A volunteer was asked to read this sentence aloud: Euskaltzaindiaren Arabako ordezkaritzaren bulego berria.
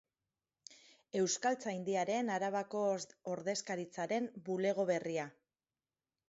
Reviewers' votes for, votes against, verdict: 0, 4, rejected